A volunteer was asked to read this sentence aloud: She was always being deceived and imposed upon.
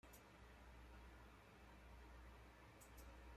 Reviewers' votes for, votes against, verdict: 0, 2, rejected